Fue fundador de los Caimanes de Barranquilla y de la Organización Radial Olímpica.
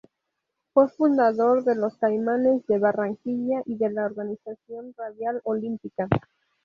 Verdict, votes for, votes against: rejected, 0, 2